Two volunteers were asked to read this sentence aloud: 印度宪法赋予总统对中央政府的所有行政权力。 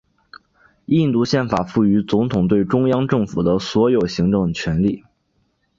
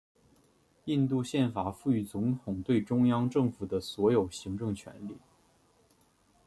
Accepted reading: second